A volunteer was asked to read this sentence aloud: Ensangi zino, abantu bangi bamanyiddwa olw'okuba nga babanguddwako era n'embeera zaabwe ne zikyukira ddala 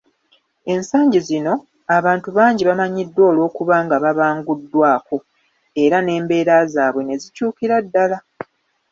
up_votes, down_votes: 2, 0